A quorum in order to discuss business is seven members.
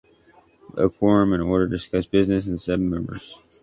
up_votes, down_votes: 0, 2